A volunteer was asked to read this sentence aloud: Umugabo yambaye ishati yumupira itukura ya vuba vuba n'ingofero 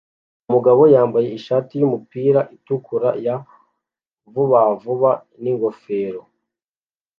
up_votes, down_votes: 2, 1